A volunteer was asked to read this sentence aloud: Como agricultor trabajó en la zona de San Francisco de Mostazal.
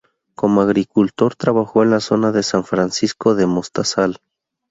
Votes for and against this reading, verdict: 2, 0, accepted